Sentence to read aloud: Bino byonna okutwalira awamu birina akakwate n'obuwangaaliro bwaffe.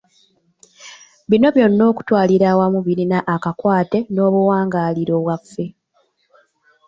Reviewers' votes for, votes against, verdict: 2, 0, accepted